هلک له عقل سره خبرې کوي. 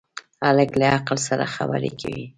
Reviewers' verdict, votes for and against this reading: accepted, 2, 1